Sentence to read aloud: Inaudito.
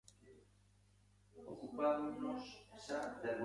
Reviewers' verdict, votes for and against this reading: rejected, 0, 2